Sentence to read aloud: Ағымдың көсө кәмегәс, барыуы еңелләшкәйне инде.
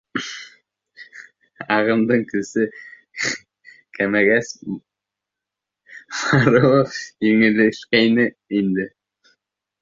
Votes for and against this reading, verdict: 0, 2, rejected